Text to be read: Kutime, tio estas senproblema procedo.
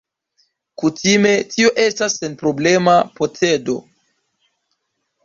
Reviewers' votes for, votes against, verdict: 0, 2, rejected